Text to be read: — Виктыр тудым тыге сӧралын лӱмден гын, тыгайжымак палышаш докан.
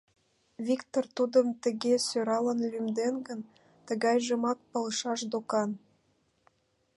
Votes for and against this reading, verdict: 2, 0, accepted